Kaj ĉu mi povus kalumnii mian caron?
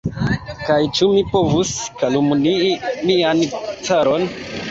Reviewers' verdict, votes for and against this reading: rejected, 0, 2